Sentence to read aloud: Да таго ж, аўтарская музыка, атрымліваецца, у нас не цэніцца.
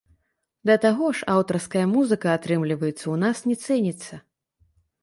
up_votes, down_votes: 1, 3